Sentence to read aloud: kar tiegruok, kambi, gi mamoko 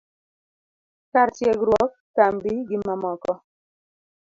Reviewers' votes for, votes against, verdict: 2, 0, accepted